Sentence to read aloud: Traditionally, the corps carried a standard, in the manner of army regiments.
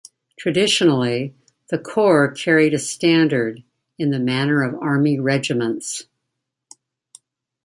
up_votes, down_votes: 1, 2